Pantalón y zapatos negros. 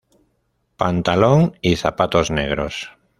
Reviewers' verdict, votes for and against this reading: accepted, 2, 0